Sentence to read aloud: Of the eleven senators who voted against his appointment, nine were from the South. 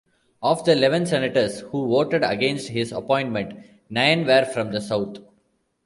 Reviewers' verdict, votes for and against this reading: accepted, 2, 0